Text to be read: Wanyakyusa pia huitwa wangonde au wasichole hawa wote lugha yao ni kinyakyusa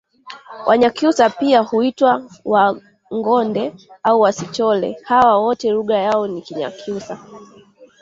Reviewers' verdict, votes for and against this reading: rejected, 1, 2